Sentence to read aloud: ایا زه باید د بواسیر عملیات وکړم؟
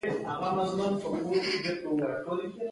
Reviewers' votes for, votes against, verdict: 1, 2, rejected